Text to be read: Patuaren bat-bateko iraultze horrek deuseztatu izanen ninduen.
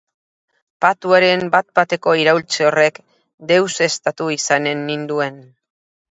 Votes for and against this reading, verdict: 0, 2, rejected